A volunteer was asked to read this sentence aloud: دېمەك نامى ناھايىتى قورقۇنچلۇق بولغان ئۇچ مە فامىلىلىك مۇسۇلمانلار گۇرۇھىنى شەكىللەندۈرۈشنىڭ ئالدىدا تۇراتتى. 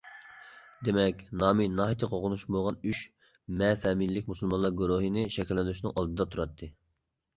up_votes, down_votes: 1, 2